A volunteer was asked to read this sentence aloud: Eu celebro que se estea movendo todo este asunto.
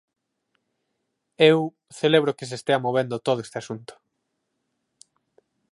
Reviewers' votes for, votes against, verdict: 4, 0, accepted